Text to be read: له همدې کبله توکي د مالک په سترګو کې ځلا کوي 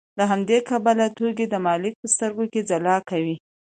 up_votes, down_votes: 2, 0